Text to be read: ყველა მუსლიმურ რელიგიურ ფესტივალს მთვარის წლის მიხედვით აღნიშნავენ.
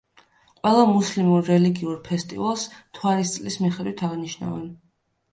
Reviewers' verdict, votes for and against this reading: accepted, 2, 0